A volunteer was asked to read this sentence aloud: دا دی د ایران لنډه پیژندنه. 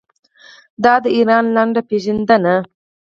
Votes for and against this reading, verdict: 4, 0, accepted